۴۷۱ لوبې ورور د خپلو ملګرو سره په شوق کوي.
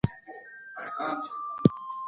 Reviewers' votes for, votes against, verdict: 0, 2, rejected